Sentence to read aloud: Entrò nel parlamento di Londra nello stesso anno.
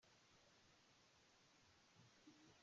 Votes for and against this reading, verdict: 0, 2, rejected